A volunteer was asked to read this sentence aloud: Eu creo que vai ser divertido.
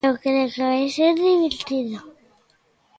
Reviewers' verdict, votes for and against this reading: rejected, 0, 2